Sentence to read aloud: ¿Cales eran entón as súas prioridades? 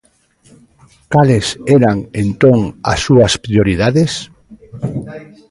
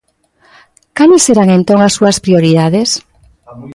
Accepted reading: first